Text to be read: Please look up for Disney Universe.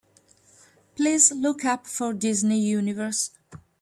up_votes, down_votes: 2, 0